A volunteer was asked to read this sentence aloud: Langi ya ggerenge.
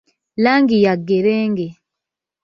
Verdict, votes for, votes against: accepted, 2, 0